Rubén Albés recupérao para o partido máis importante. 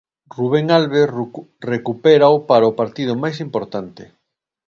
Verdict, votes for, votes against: rejected, 1, 2